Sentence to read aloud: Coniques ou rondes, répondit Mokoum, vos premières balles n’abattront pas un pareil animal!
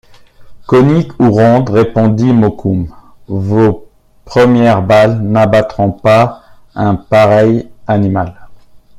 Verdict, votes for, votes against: accepted, 2, 1